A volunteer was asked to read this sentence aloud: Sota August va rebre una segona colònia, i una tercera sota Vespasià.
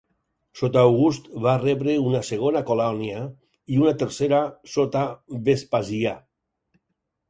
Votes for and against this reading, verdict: 4, 0, accepted